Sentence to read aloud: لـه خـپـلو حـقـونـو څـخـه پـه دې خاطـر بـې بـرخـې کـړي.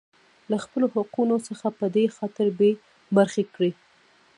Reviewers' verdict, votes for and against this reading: rejected, 1, 2